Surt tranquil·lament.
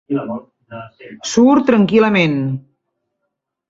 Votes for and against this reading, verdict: 0, 2, rejected